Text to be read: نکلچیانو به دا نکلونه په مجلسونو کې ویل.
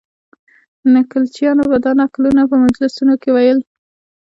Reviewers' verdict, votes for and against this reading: accepted, 2, 0